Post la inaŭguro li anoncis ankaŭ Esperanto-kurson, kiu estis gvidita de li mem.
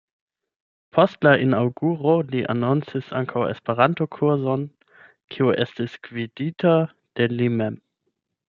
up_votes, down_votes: 0, 8